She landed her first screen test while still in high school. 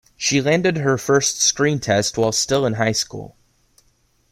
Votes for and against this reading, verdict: 2, 0, accepted